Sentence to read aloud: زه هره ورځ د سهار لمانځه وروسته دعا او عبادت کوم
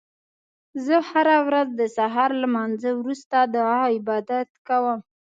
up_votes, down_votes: 2, 0